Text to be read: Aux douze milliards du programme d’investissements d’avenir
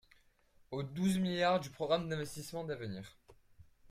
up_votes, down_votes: 1, 2